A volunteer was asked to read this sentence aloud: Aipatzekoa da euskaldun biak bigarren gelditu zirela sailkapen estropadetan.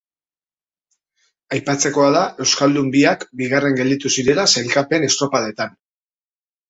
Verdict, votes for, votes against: accepted, 2, 0